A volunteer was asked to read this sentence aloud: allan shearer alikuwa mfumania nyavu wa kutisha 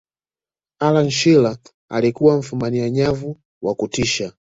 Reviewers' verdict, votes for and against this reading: rejected, 0, 2